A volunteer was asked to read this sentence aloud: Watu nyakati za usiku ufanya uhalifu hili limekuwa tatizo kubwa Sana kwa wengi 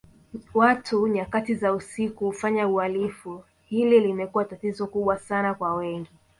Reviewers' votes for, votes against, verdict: 2, 0, accepted